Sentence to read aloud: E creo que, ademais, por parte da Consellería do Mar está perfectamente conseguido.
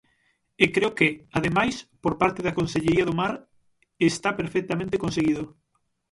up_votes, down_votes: 6, 0